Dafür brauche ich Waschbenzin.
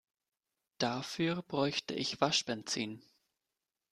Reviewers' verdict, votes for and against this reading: rejected, 0, 2